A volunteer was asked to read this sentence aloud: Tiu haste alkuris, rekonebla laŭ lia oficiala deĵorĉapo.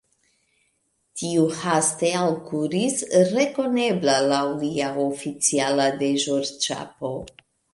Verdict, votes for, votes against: accepted, 2, 0